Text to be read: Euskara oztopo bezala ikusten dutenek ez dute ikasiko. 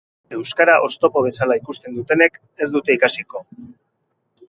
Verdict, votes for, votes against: accepted, 4, 0